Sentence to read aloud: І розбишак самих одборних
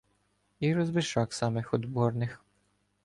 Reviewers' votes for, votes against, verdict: 2, 0, accepted